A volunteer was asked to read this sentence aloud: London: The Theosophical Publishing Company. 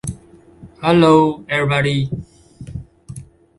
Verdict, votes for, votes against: rejected, 0, 2